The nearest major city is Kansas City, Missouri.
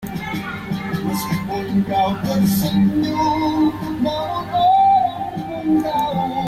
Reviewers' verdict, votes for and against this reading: rejected, 0, 2